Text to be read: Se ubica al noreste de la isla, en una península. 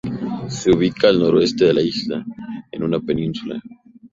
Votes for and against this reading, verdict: 4, 0, accepted